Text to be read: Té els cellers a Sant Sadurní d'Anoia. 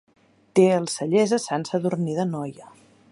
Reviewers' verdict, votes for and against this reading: accepted, 2, 0